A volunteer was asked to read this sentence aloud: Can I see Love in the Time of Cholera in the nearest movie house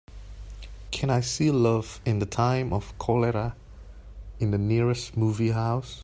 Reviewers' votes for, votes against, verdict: 2, 1, accepted